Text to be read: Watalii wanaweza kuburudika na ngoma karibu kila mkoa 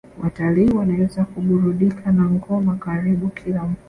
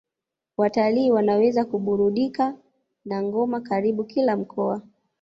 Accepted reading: second